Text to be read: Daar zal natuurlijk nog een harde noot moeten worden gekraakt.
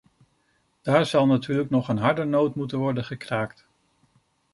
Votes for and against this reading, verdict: 2, 0, accepted